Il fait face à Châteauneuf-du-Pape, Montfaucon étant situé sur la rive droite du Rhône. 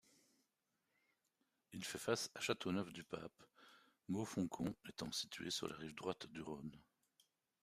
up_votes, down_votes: 0, 2